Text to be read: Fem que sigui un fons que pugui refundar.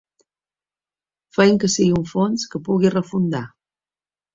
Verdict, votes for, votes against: accepted, 2, 0